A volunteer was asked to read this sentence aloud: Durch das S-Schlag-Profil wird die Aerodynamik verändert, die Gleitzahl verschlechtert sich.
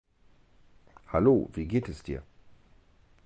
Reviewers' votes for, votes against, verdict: 0, 2, rejected